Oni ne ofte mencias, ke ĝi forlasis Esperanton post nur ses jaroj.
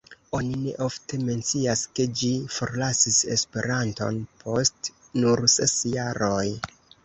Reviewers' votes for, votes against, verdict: 2, 0, accepted